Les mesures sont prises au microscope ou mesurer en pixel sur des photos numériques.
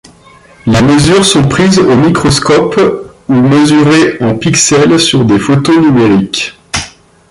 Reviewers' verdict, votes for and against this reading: rejected, 1, 2